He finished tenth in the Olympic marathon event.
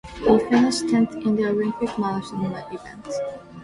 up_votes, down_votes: 1, 2